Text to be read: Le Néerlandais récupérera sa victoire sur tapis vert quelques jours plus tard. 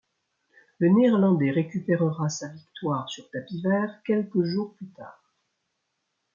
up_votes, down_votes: 2, 0